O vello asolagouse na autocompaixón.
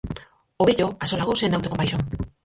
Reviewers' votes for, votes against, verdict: 0, 4, rejected